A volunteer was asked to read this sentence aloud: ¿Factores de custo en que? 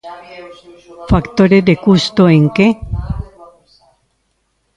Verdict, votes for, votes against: rejected, 0, 2